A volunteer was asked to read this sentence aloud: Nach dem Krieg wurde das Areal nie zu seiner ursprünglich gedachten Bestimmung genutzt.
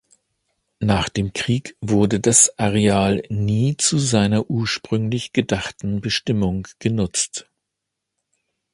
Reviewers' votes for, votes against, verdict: 3, 0, accepted